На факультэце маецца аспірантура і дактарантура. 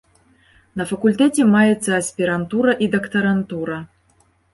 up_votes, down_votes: 2, 0